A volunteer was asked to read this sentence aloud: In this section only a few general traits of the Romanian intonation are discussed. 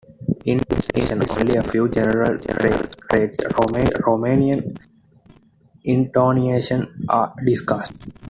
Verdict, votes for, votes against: rejected, 1, 2